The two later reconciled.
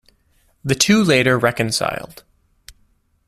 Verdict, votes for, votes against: accepted, 2, 0